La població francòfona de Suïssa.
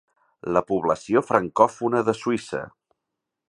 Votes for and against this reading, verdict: 4, 0, accepted